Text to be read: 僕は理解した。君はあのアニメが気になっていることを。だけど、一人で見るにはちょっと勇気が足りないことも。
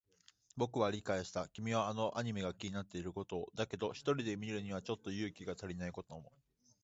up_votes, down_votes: 2, 0